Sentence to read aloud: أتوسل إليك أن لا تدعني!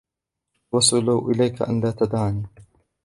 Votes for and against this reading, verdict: 0, 2, rejected